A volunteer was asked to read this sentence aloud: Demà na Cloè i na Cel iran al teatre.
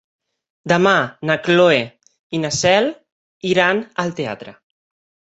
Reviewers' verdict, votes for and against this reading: accepted, 3, 1